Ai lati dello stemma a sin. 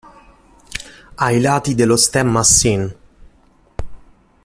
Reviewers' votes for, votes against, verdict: 2, 0, accepted